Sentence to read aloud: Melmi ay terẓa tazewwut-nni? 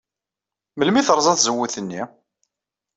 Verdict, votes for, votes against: accepted, 2, 0